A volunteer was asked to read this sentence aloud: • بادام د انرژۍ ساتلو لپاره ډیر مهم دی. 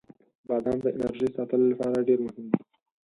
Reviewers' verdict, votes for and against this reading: rejected, 0, 4